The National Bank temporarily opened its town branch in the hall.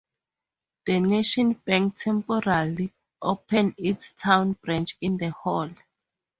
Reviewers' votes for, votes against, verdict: 2, 0, accepted